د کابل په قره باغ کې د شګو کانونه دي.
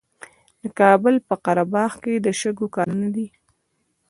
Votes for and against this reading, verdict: 2, 0, accepted